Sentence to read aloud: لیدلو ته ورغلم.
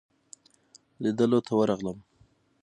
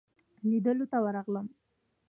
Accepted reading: first